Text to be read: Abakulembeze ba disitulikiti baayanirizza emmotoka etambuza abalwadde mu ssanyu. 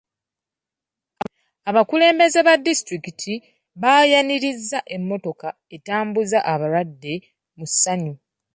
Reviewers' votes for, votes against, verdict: 2, 0, accepted